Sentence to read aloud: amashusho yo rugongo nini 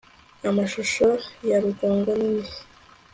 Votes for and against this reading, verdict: 2, 0, accepted